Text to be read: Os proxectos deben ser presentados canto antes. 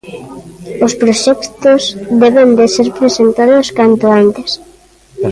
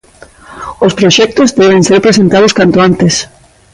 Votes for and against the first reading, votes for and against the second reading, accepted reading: 0, 2, 2, 0, second